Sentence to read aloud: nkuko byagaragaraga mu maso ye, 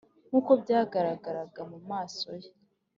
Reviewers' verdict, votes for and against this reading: accepted, 2, 0